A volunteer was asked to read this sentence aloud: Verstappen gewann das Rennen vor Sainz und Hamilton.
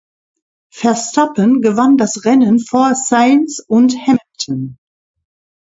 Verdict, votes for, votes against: rejected, 0, 2